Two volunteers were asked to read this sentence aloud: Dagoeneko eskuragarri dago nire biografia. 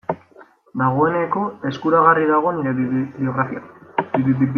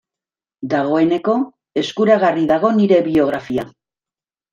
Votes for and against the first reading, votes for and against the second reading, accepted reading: 1, 2, 2, 0, second